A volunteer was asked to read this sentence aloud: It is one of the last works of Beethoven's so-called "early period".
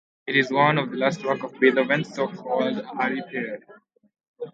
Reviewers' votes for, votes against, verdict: 0, 2, rejected